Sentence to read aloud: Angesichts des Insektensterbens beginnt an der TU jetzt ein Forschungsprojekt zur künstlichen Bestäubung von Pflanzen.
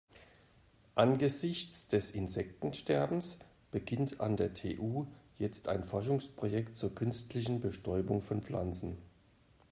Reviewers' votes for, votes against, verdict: 3, 0, accepted